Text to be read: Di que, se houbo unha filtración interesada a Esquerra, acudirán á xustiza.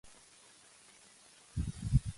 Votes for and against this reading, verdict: 0, 2, rejected